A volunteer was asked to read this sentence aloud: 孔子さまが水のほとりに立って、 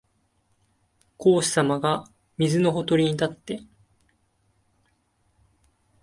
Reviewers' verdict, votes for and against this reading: accepted, 3, 0